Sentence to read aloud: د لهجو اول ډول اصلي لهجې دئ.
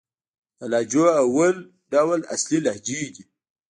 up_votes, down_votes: 1, 2